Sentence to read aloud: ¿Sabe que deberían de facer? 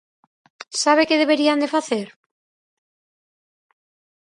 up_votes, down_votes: 4, 0